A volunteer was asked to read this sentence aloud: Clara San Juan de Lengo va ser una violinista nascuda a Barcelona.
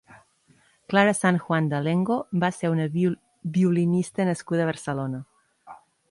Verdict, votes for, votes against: rejected, 0, 2